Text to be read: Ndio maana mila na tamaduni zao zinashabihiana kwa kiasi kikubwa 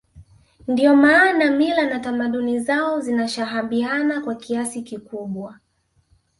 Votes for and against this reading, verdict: 1, 2, rejected